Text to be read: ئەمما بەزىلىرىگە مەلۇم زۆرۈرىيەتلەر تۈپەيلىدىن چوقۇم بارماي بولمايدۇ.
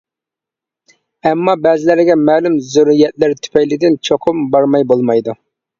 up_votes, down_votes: 1, 2